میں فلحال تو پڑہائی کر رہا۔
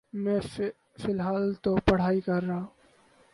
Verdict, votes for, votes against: rejected, 2, 2